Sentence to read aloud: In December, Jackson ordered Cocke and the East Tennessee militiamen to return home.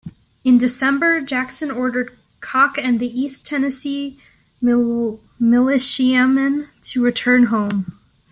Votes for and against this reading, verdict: 0, 2, rejected